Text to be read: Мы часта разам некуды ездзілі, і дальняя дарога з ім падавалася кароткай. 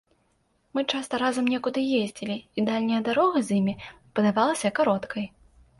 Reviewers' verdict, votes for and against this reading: rejected, 1, 2